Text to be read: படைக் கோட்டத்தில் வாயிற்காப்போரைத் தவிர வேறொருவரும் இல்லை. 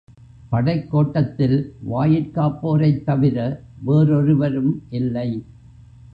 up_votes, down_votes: 1, 2